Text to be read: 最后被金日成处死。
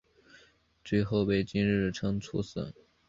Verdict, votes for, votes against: accepted, 6, 0